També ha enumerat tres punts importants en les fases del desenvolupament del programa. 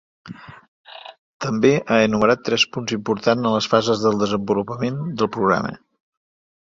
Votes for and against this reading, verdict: 2, 0, accepted